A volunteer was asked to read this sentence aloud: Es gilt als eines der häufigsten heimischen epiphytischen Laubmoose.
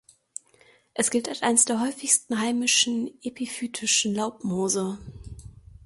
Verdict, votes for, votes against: rejected, 0, 2